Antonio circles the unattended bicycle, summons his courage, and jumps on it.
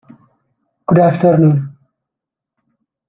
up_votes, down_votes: 0, 2